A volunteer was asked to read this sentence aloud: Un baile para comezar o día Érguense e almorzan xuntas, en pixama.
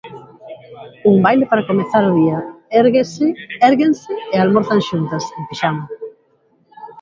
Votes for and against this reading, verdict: 0, 2, rejected